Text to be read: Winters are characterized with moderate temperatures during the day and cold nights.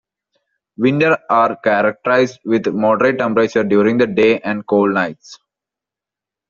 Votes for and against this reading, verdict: 2, 1, accepted